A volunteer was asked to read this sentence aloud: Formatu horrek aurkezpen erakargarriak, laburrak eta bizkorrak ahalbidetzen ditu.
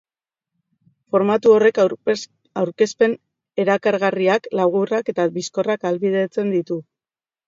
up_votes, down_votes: 0, 2